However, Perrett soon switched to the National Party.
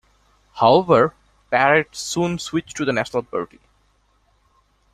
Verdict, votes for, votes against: accepted, 2, 0